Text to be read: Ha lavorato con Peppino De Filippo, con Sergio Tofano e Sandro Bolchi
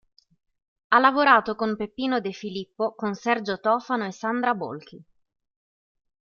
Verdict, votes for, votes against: rejected, 1, 2